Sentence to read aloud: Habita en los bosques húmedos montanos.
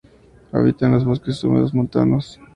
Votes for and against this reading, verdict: 2, 0, accepted